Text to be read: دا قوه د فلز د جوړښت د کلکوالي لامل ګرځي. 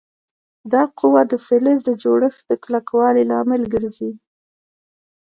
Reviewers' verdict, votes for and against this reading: rejected, 1, 2